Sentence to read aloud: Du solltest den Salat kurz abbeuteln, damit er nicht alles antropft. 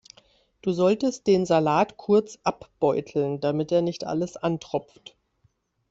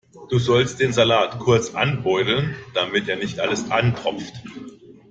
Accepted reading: first